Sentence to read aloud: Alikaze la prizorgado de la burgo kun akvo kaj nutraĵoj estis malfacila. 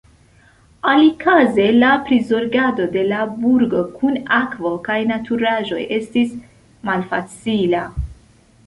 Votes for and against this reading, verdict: 0, 2, rejected